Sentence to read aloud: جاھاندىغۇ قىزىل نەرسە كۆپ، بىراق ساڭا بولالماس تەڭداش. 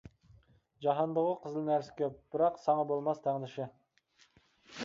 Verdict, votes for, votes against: rejected, 0, 2